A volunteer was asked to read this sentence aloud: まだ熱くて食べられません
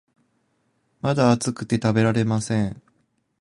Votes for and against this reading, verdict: 2, 0, accepted